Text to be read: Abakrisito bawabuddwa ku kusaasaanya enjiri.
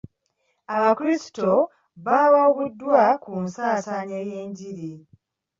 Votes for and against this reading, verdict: 1, 3, rejected